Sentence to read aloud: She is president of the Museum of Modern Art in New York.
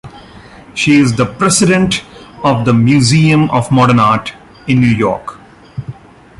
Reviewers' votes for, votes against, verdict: 1, 3, rejected